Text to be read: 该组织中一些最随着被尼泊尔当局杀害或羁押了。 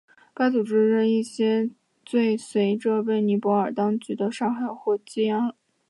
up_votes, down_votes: 7, 0